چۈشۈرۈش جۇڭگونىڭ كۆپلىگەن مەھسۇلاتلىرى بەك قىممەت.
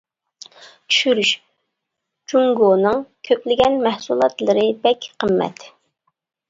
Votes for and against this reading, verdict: 2, 0, accepted